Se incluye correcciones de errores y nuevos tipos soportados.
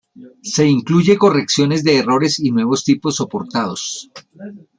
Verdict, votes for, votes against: accepted, 2, 0